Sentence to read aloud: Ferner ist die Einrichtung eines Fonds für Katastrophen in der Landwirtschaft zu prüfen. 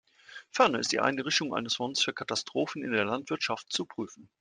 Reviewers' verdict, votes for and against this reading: rejected, 1, 2